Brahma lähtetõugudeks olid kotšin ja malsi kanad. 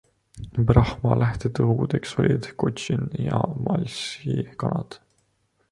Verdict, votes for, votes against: accepted, 2, 0